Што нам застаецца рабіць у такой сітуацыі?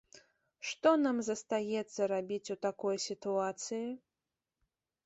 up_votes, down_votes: 2, 0